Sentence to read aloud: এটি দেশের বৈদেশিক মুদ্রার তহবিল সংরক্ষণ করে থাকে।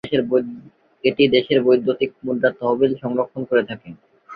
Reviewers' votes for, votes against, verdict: 1, 3, rejected